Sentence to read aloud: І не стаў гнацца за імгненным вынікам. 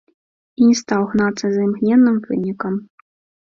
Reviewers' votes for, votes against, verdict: 2, 1, accepted